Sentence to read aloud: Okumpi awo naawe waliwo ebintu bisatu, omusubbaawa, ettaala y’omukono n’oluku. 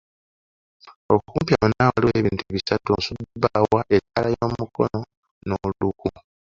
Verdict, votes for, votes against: rejected, 0, 2